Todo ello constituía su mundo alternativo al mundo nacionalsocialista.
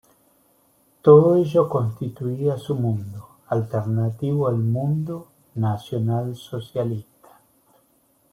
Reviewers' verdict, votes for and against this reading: rejected, 1, 2